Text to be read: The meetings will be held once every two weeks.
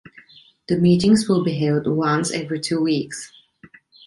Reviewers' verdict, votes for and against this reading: accepted, 2, 0